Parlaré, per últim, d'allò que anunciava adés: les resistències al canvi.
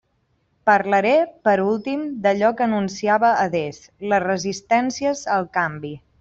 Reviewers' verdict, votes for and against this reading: accepted, 2, 0